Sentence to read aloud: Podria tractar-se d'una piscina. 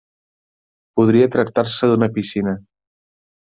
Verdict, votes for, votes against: accepted, 3, 0